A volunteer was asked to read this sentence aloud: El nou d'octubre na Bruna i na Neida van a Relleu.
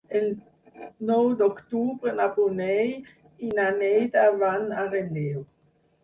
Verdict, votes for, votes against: rejected, 0, 4